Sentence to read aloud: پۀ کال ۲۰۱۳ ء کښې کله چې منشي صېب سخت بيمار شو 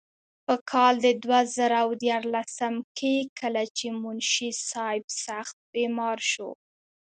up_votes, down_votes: 0, 2